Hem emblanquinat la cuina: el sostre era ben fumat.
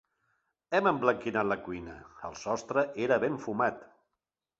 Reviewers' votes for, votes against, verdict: 2, 0, accepted